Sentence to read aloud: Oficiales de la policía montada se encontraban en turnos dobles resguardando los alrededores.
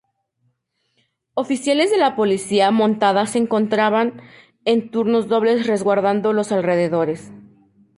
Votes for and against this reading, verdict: 2, 0, accepted